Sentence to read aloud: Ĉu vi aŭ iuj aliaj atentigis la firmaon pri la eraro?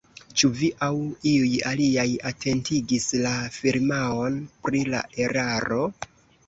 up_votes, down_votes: 2, 0